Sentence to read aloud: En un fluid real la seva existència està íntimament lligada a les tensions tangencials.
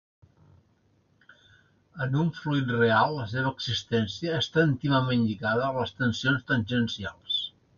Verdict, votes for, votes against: accepted, 2, 0